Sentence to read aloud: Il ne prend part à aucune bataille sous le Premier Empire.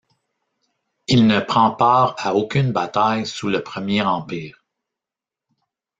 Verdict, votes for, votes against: rejected, 0, 2